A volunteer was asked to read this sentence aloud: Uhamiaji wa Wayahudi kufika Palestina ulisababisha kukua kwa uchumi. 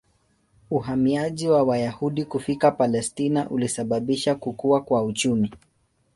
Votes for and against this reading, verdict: 0, 2, rejected